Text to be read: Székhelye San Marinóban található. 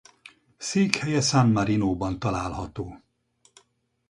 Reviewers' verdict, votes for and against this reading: accepted, 4, 0